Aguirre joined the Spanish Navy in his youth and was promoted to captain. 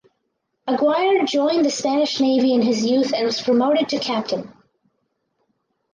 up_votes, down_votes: 2, 2